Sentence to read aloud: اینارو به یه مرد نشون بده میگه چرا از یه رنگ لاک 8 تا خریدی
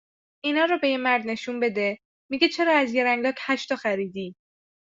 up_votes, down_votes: 0, 2